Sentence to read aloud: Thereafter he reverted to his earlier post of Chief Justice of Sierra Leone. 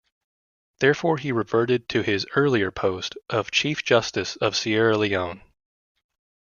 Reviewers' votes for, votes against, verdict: 0, 2, rejected